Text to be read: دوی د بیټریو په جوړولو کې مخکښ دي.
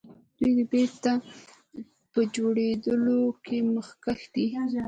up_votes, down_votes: 1, 2